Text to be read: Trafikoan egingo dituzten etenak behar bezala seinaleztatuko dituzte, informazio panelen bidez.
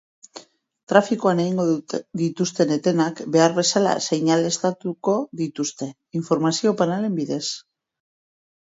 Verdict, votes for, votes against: rejected, 0, 2